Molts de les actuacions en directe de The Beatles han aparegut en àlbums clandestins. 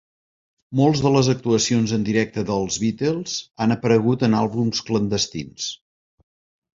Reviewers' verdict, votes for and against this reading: rejected, 0, 2